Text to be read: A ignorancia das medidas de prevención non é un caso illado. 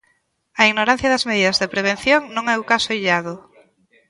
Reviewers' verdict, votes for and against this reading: rejected, 1, 2